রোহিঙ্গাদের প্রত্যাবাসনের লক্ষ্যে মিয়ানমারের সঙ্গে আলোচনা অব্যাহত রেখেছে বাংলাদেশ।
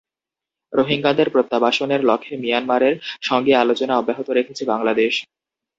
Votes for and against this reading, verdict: 2, 0, accepted